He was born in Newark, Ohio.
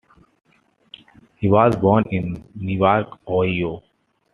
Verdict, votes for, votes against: rejected, 1, 2